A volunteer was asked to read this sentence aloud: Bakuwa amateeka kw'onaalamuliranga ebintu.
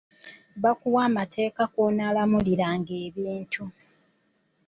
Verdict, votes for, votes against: rejected, 1, 2